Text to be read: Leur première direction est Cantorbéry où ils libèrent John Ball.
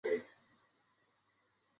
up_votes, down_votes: 0, 2